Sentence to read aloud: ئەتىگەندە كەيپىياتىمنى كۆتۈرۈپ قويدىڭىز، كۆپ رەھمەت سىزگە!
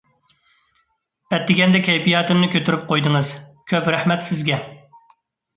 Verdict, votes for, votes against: accepted, 2, 0